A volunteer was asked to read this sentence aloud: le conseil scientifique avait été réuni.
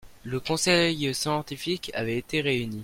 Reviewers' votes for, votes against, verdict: 1, 2, rejected